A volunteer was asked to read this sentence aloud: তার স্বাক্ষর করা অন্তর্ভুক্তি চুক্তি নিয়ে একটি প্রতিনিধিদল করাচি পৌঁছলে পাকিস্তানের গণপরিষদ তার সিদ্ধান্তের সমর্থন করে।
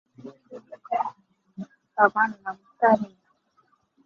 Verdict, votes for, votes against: rejected, 0, 5